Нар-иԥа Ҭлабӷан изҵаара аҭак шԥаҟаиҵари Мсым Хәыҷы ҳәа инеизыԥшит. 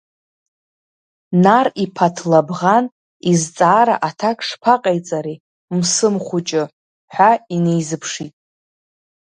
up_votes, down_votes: 1, 2